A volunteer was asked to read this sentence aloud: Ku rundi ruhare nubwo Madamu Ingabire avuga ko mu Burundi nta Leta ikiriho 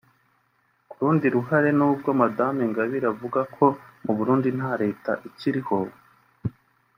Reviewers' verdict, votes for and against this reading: accepted, 2, 1